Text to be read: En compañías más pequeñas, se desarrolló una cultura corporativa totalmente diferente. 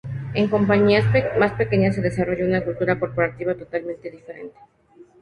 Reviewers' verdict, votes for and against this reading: accepted, 2, 0